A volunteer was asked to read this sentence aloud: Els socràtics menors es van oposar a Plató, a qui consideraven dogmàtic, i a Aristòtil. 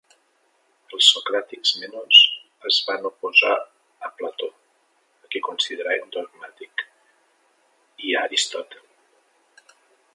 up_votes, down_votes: 0, 2